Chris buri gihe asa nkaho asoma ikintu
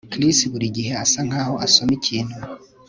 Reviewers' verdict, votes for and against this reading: accepted, 2, 0